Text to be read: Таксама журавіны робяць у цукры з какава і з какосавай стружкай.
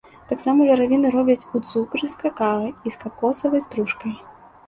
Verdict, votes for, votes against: accepted, 2, 0